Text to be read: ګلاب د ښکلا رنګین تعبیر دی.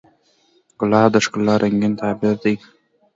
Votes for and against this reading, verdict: 2, 0, accepted